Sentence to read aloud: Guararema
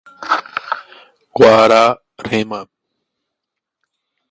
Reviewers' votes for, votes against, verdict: 1, 2, rejected